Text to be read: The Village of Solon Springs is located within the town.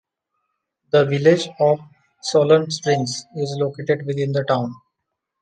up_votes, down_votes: 2, 0